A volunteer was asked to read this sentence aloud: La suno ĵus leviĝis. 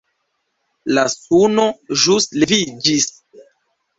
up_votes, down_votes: 1, 2